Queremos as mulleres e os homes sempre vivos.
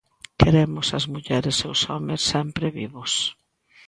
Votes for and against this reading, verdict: 2, 0, accepted